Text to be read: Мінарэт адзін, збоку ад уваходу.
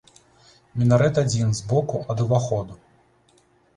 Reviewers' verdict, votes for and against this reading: rejected, 1, 2